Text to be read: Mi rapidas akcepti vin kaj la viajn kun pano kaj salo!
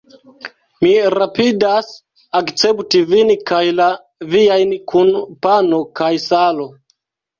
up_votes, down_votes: 1, 2